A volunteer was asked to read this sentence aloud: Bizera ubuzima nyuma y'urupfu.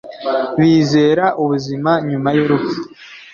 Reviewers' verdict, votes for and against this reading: accepted, 2, 0